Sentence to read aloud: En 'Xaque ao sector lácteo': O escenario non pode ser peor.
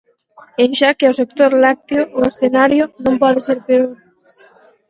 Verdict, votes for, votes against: rejected, 0, 4